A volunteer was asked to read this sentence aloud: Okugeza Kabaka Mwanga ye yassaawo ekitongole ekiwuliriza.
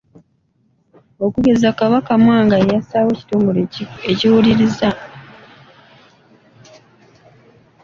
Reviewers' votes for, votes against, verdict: 2, 0, accepted